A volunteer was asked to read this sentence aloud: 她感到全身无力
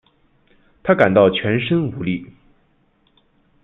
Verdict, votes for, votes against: accepted, 2, 0